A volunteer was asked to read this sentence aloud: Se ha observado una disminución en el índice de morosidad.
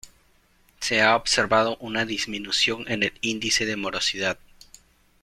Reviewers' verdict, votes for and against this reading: accepted, 2, 0